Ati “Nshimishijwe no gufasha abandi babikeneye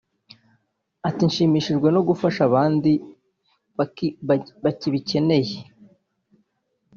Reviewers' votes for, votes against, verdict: 1, 2, rejected